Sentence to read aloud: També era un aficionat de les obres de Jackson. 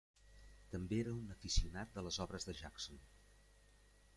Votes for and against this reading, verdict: 0, 2, rejected